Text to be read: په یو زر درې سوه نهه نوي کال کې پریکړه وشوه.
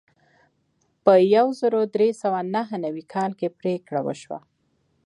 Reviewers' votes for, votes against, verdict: 1, 2, rejected